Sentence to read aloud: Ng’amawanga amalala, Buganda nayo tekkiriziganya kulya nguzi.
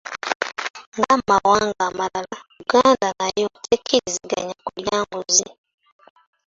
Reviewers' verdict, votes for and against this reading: rejected, 1, 2